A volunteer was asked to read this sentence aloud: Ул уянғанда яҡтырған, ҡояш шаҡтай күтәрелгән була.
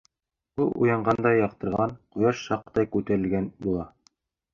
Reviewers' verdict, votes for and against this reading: rejected, 0, 2